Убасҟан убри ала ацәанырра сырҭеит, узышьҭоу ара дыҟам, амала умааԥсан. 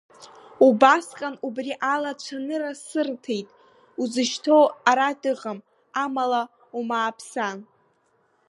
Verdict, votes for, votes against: accepted, 3, 0